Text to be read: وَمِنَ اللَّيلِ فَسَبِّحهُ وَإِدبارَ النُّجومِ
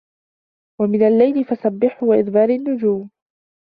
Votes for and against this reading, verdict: 0, 2, rejected